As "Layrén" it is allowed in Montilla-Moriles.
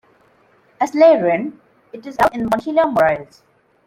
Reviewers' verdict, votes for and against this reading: rejected, 0, 2